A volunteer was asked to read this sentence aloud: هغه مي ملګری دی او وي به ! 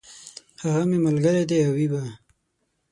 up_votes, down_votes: 6, 0